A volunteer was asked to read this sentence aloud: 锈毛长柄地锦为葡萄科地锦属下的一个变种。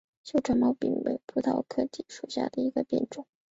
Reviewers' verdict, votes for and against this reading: rejected, 1, 2